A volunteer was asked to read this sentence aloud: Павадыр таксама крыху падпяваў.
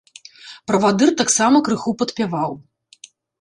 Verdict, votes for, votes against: rejected, 0, 2